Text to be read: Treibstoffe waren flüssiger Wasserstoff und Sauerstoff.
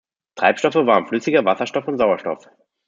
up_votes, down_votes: 1, 2